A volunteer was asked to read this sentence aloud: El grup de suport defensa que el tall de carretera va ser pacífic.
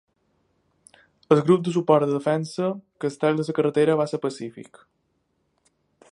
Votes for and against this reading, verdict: 1, 2, rejected